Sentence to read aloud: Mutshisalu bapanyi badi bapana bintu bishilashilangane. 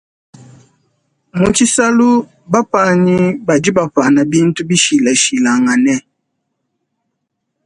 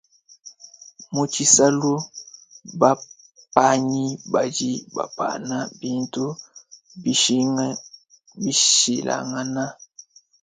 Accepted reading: first